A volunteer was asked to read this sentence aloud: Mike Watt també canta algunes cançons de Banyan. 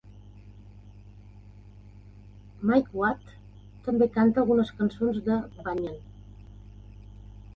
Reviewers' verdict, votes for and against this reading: accepted, 2, 0